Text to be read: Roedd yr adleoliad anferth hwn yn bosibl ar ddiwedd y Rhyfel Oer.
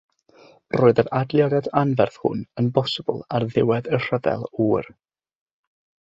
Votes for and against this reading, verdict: 6, 0, accepted